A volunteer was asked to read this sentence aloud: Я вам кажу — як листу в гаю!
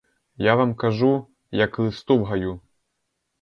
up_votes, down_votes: 2, 2